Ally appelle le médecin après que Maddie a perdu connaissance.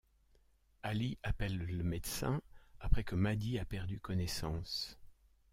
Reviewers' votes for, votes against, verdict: 2, 0, accepted